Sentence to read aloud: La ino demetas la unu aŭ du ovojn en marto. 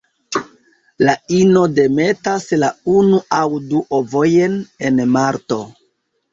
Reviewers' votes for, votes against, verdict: 1, 2, rejected